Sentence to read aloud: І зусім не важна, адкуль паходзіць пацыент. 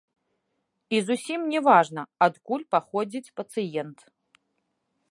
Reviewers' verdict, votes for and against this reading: rejected, 0, 2